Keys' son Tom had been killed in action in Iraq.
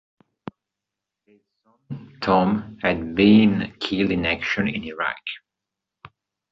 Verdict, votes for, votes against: rejected, 0, 3